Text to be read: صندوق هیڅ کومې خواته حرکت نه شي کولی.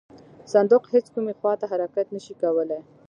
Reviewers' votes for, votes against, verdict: 2, 1, accepted